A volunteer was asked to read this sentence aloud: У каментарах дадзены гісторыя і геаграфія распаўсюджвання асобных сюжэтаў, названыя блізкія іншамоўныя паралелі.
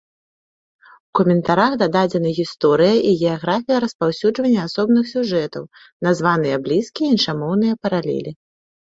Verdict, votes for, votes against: rejected, 0, 2